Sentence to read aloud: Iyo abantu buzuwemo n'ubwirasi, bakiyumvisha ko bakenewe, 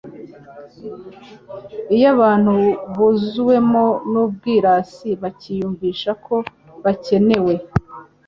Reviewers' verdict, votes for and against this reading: accepted, 4, 0